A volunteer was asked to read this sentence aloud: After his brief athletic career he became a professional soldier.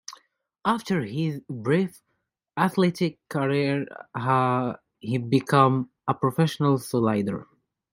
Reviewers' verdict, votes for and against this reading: rejected, 0, 2